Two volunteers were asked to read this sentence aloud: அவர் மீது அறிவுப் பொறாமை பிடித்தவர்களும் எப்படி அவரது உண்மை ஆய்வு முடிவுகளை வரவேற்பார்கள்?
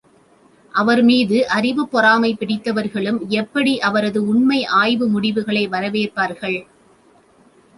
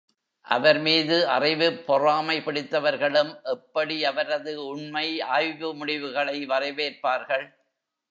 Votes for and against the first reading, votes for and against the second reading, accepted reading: 2, 0, 1, 2, first